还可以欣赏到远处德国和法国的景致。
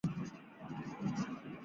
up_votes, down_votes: 0, 6